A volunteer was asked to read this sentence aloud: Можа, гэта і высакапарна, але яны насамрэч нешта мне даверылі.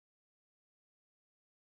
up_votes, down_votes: 1, 2